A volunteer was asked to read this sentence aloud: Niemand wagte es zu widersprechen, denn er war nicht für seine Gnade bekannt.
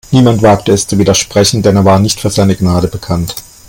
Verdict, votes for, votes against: accepted, 2, 1